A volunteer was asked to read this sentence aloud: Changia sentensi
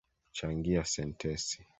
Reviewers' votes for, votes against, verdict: 2, 0, accepted